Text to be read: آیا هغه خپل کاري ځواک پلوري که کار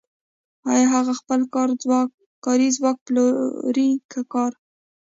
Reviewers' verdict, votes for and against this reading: rejected, 1, 2